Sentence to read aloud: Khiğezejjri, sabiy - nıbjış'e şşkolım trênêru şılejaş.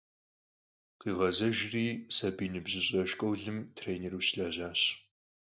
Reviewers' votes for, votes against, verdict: 4, 2, accepted